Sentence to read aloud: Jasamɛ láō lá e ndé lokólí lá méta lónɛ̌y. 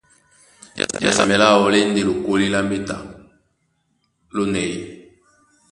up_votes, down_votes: 1, 2